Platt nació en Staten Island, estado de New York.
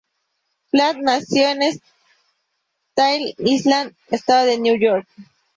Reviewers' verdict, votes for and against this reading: rejected, 0, 2